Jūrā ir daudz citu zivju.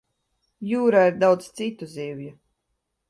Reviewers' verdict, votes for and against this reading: accepted, 2, 0